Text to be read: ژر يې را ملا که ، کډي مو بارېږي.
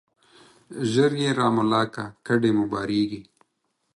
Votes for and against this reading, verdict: 4, 2, accepted